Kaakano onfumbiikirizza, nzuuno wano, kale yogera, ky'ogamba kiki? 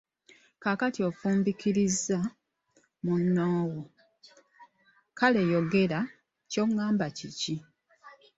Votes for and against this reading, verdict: 2, 2, rejected